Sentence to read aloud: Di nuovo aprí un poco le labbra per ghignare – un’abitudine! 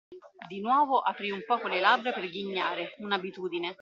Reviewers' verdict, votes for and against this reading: rejected, 0, 2